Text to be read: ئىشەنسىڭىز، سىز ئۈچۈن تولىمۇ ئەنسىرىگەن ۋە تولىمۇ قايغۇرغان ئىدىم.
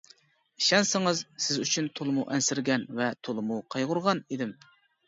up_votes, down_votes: 2, 0